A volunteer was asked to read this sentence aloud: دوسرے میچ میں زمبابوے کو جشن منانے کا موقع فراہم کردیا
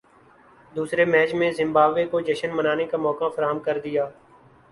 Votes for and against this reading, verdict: 2, 0, accepted